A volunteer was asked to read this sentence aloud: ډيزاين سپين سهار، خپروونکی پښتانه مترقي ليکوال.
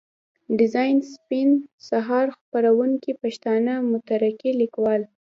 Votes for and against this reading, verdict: 1, 2, rejected